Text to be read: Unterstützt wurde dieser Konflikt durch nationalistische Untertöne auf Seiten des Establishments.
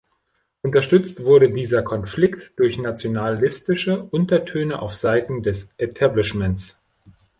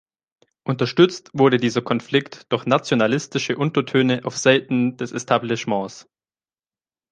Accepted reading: second